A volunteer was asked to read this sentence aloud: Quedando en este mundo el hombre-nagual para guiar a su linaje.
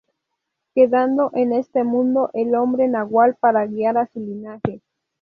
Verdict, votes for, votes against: accepted, 2, 0